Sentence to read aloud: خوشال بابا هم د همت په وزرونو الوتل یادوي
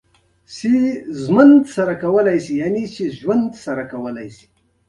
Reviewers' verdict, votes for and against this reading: accepted, 2, 0